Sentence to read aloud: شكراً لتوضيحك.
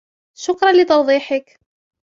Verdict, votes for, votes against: accepted, 2, 0